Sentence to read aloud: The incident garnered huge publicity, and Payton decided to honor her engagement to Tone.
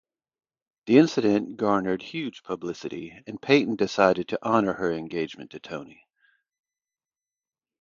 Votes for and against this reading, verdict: 0, 2, rejected